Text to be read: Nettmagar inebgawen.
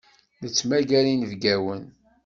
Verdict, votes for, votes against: accepted, 2, 0